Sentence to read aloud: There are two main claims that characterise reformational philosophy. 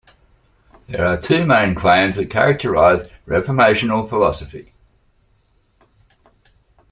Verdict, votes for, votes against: accepted, 2, 0